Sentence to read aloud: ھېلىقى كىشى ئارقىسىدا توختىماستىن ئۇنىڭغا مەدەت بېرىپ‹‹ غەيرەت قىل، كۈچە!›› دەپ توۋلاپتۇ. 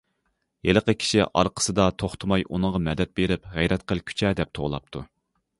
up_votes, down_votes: 0, 2